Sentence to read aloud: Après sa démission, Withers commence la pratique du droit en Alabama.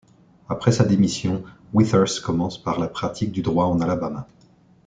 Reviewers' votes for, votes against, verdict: 1, 2, rejected